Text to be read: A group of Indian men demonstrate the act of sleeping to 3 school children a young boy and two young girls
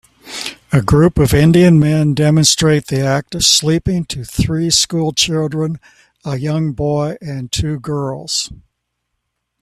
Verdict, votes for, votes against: rejected, 0, 2